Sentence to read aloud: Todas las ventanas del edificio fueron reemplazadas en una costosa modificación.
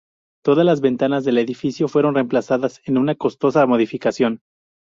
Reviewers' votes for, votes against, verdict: 2, 0, accepted